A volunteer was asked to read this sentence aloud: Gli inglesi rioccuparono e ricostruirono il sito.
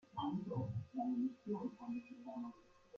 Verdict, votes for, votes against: rejected, 0, 2